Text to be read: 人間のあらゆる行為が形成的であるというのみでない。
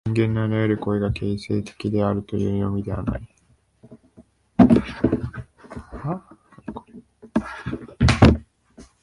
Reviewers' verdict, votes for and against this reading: rejected, 0, 2